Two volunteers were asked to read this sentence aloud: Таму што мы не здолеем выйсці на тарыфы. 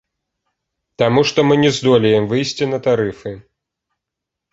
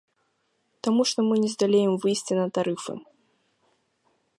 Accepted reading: first